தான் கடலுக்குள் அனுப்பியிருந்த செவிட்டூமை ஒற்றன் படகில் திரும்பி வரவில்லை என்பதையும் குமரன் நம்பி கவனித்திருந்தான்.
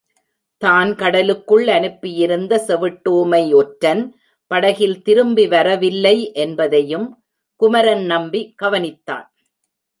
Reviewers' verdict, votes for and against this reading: rejected, 0, 2